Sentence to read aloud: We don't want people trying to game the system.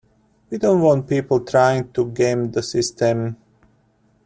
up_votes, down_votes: 2, 0